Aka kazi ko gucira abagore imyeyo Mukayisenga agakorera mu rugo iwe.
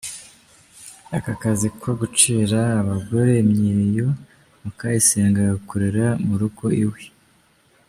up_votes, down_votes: 1, 2